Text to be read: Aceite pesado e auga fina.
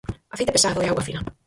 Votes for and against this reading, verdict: 0, 4, rejected